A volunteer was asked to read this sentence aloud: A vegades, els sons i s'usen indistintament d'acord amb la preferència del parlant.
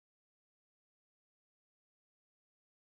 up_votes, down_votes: 0, 2